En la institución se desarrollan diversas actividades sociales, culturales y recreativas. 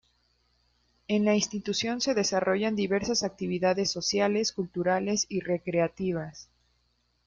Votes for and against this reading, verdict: 2, 0, accepted